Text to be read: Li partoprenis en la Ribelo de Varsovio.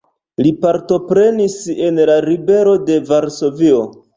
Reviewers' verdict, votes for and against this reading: accepted, 2, 0